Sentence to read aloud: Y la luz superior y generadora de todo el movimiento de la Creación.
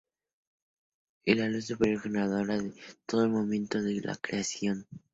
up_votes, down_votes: 0, 2